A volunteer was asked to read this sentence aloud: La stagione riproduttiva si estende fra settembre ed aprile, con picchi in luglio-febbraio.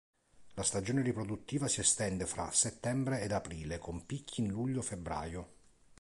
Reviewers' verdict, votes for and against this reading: accepted, 2, 0